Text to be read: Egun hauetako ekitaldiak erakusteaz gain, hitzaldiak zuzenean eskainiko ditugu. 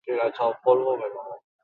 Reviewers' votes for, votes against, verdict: 0, 4, rejected